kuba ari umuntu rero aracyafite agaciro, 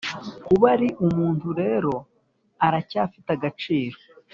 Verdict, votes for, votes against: accepted, 3, 0